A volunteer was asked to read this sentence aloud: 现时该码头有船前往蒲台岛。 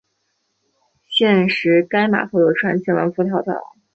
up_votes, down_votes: 2, 0